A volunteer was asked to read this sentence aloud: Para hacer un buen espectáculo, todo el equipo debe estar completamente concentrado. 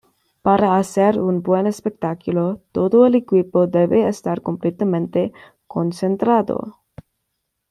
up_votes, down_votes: 2, 0